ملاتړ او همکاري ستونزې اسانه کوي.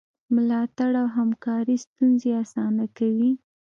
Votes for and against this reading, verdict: 2, 0, accepted